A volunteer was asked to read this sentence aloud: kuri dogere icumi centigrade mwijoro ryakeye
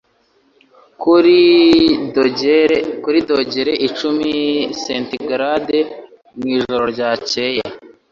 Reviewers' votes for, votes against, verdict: 1, 2, rejected